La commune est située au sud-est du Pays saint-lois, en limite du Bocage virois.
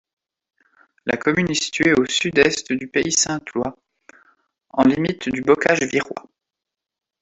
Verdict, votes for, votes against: accepted, 2, 0